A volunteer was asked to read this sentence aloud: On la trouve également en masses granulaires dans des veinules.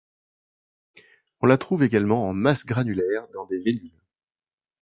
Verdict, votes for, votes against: rejected, 0, 2